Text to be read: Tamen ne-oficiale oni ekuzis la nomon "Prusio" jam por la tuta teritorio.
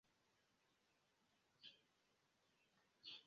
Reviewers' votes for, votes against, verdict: 2, 1, accepted